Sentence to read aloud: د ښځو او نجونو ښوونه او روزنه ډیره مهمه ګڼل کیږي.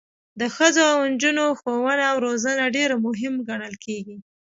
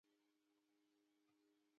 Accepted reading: first